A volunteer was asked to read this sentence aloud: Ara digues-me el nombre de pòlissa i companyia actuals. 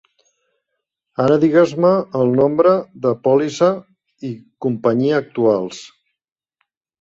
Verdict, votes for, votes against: accepted, 3, 0